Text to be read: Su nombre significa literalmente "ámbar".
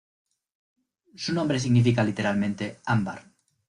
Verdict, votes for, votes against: accepted, 2, 0